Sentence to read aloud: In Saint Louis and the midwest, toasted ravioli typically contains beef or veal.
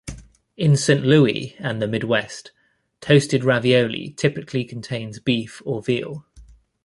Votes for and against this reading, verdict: 0, 2, rejected